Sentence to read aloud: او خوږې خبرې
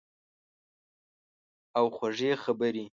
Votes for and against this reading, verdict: 2, 0, accepted